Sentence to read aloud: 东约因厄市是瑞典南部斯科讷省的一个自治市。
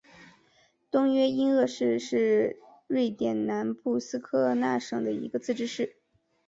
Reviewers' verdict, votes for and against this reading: accepted, 2, 1